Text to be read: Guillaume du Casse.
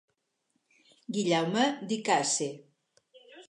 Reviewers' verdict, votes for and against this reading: rejected, 0, 4